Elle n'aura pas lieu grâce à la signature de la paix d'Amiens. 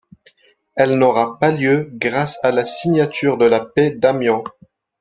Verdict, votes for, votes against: rejected, 0, 2